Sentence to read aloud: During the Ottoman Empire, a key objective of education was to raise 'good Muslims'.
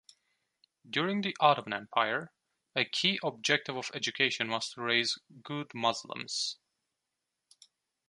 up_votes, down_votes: 2, 0